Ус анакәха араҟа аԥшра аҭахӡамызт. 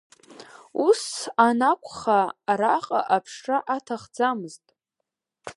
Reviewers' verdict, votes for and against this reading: accepted, 2, 0